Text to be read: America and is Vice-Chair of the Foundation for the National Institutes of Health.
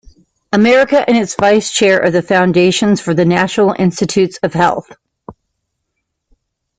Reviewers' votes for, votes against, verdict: 2, 0, accepted